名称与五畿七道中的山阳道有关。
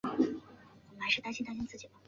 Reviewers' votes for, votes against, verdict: 0, 2, rejected